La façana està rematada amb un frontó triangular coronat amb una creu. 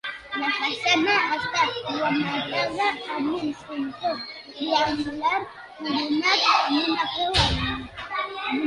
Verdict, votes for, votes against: rejected, 1, 2